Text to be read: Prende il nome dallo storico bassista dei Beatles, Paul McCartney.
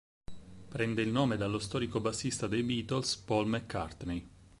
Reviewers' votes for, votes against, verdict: 6, 0, accepted